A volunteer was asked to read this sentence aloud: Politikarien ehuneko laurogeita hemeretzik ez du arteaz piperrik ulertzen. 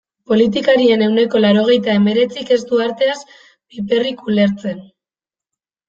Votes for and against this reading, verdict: 2, 1, accepted